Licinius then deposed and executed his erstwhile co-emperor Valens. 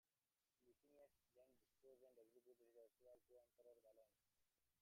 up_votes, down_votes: 0, 2